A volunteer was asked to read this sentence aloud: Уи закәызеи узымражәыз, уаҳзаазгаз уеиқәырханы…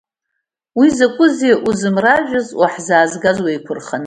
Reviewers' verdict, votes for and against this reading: accepted, 2, 0